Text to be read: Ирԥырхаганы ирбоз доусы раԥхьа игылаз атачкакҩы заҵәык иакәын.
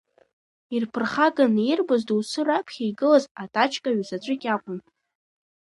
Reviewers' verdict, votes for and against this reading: rejected, 1, 2